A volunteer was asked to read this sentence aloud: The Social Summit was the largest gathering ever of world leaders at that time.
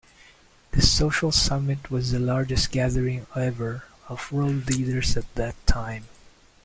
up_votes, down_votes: 2, 0